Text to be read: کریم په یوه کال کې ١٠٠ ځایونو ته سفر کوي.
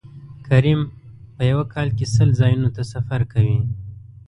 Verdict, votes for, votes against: rejected, 0, 2